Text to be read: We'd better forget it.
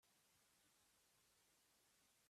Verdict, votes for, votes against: rejected, 0, 2